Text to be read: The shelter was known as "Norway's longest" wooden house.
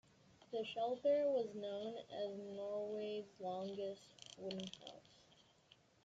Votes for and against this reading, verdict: 0, 2, rejected